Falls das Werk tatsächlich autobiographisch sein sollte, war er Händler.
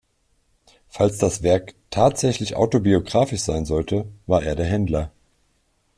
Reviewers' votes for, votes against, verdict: 1, 2, rejected